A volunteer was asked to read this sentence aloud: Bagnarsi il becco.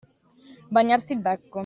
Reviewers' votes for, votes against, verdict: 2, 1, accepted